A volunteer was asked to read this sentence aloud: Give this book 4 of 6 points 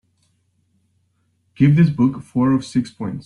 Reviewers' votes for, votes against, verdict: 0, 2, rejected